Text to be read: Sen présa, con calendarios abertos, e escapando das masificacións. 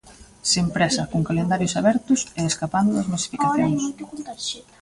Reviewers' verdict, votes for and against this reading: rejected, 0, 2